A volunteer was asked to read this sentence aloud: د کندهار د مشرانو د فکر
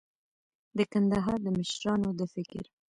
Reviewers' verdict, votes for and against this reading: rejected, 1, 2